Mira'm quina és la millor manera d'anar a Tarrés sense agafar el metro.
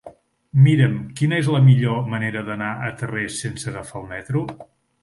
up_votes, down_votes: 0, 2